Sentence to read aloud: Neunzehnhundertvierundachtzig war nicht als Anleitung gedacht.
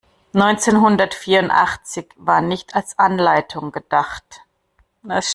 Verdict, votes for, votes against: rejected, 1, 2